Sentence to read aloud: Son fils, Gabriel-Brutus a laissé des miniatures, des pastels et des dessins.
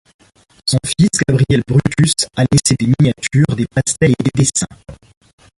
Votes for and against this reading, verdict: 1, 2, rejected